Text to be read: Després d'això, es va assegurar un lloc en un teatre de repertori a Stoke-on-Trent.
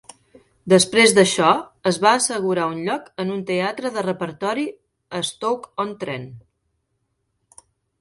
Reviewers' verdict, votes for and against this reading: accepted, 2, 0